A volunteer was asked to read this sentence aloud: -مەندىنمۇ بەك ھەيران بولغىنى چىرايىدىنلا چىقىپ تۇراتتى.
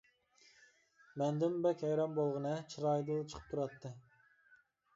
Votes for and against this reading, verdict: 2, 0, accepted